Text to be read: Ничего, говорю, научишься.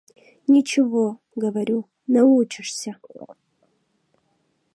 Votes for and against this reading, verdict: 0, 2, rejected